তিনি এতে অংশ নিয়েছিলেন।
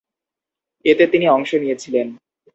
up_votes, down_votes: 0, 2